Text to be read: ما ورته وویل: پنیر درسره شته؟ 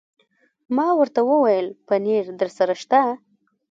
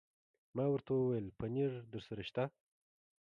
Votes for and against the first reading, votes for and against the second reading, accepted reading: 1, 2, 2, 0, second